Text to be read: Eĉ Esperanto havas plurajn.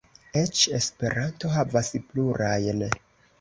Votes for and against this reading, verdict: 2, 0, accepted